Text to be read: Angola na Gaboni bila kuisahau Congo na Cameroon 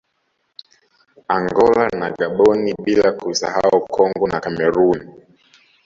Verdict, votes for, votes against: rejected, 1, 2